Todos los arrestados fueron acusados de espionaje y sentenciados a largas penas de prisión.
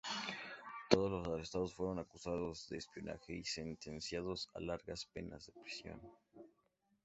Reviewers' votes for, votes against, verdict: 2, 0, accepted